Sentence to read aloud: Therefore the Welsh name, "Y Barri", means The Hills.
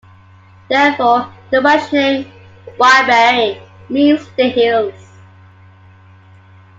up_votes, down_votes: 0, 2